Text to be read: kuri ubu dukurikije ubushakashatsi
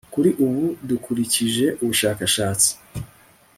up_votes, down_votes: 2, 0